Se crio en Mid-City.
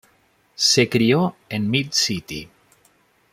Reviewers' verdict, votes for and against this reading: accepted, 2, 0